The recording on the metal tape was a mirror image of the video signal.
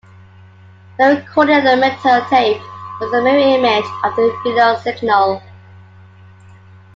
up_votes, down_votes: 0, 2